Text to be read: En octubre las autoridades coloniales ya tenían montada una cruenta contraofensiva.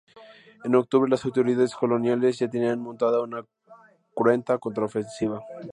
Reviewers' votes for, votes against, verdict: 2, 0, accepted